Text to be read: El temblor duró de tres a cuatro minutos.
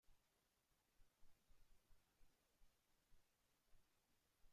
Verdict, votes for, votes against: rejected, 0, 2